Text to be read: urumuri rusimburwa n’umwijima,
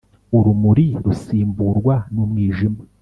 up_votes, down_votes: 2, 0